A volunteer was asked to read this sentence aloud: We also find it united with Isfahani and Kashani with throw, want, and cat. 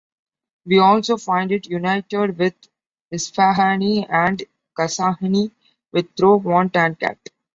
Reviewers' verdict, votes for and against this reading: accepted, 2, 1